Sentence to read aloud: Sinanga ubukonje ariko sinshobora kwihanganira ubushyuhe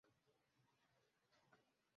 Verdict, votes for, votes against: rejected, 0, 2